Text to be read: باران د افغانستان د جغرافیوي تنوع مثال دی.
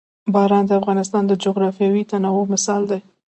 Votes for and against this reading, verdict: 2, 0, accepted